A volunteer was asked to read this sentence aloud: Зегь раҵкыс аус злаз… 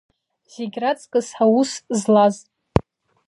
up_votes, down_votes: 2, 0